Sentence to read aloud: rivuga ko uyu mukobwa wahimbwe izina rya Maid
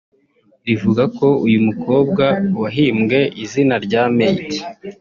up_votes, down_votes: 0, 2